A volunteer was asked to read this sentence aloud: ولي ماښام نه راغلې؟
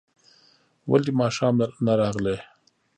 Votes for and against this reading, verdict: 1, 2, rejected